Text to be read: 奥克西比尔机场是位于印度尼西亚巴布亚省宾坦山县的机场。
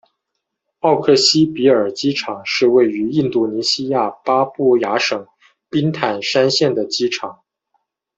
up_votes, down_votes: 2, 0